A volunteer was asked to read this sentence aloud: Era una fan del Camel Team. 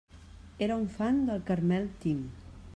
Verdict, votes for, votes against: rejected, 0, 2